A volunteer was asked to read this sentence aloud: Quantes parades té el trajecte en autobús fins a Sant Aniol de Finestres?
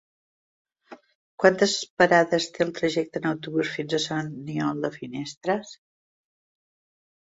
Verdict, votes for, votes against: accepted, 2, 0